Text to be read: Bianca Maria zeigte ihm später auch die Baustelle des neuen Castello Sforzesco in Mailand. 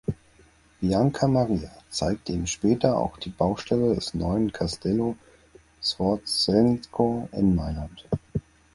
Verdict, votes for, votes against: rejected, 2, 4